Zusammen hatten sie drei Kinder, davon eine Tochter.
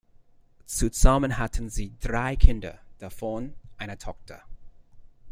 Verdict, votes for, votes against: accepted, 2, 0